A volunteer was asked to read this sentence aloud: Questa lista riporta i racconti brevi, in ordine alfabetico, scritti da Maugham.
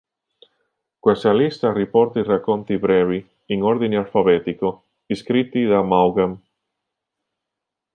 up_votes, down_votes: 1, 2